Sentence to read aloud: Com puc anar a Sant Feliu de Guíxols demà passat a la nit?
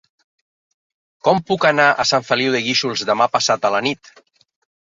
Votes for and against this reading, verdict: 3, 0, accepted